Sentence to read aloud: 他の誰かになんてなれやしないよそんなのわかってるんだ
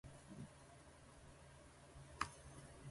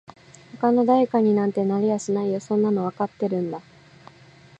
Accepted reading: second